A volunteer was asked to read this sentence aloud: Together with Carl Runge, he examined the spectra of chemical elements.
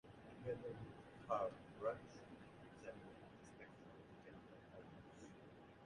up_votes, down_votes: 0, 2